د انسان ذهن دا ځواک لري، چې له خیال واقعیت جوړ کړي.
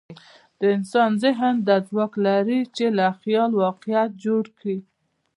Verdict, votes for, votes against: accepted, 2, 0